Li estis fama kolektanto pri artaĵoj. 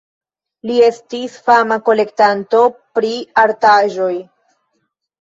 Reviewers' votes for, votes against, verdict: 0, 2, rejected